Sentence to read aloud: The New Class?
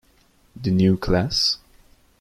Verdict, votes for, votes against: accepted, 2, 0